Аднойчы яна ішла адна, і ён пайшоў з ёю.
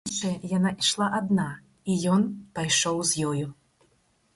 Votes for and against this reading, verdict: 2, 4, rejected